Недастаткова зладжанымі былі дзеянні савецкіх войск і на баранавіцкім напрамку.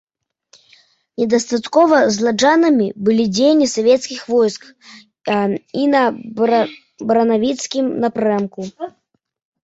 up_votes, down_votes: 0, 2